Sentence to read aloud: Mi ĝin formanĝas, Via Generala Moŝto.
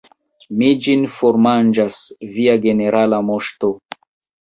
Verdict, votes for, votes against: accepted, 2, 1